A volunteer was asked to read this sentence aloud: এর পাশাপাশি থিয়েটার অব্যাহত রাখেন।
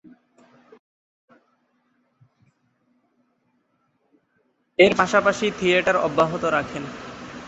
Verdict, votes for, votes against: accepted, 2, 0